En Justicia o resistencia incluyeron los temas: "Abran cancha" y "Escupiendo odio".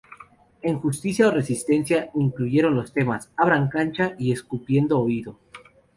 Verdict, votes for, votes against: rejected, 0, 2